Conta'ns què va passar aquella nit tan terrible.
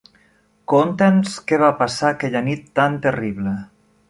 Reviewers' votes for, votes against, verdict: 1, 2, rejected